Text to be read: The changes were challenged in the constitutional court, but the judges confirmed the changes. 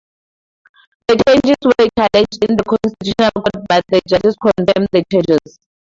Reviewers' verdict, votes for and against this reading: rejected, 0, 2